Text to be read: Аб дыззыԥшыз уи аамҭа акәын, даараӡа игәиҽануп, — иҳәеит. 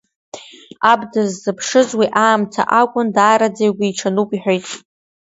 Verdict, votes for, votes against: accepted, 2, 1